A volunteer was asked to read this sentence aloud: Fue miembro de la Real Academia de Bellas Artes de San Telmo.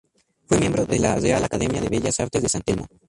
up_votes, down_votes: 0, 2